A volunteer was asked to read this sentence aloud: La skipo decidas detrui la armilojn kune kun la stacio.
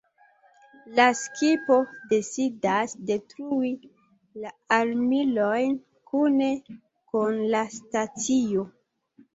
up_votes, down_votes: 1, 2